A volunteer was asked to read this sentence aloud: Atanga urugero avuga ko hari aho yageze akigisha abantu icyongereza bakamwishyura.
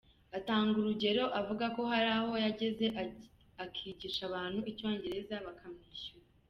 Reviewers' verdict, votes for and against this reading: rejected, 0, 2